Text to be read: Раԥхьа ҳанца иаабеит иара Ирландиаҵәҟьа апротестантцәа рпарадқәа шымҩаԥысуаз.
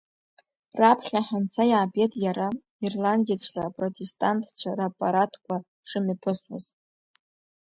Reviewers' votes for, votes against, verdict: 1, 2, rejected